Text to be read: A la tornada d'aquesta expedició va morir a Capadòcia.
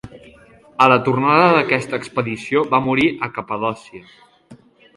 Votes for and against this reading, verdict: 4, 0, accepted